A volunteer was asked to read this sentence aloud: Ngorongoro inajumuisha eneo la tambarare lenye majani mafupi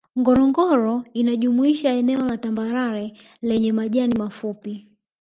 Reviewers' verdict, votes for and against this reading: rejected, 1, 2